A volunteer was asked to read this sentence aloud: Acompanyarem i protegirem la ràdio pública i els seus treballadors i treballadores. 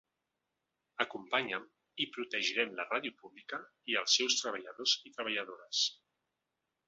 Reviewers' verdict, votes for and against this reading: rejected, 0, 2